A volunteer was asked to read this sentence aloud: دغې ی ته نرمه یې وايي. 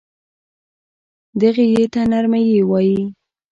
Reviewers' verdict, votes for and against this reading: rejected, 0, 2